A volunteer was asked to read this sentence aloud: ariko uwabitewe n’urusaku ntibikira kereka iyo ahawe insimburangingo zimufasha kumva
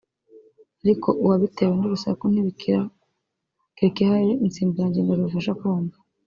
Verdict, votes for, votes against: rejected, 1, 2